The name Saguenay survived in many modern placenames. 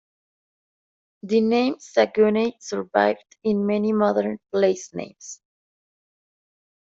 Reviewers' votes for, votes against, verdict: 2, 0, accepted